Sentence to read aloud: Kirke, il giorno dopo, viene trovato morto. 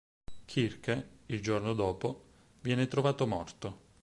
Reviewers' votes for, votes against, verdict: 4, 0, accepted